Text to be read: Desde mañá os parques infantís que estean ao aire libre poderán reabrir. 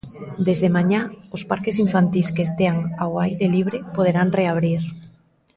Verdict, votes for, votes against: rejected, 1, 2